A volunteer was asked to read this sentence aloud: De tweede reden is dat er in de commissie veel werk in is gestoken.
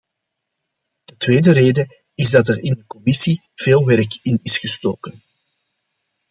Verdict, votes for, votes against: rejected, 1, 2